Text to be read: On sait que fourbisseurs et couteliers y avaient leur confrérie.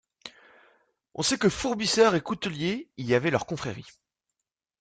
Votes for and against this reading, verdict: 2, 0, accepted